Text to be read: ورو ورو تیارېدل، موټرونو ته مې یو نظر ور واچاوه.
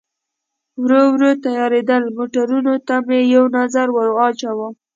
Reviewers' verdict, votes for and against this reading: accepted, 2, 0